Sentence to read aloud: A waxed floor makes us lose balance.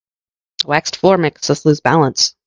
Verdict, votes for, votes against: rejected, 0, 2